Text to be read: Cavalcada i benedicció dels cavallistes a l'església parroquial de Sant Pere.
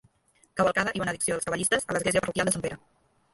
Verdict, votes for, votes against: rejected, 0, 2